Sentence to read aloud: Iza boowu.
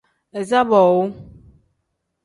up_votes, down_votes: 2, 0